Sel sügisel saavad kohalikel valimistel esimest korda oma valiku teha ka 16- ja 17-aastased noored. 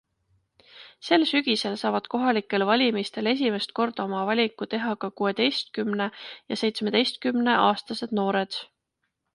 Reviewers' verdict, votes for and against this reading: rejected, 0, 2